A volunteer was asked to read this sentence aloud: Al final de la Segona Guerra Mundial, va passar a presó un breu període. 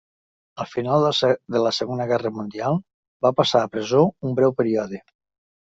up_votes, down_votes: 1, 2